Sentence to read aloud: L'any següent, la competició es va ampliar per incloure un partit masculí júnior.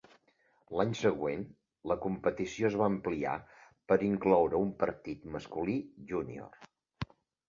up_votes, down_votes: 3, 0